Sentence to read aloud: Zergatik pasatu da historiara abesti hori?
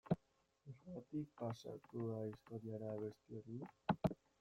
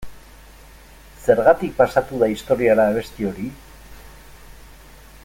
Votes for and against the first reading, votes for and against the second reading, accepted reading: 0, 2, 2, 0, second